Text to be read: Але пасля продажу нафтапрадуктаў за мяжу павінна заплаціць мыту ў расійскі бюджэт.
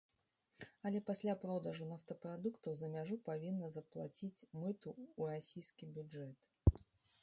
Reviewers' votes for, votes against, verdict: 2, 0, accepted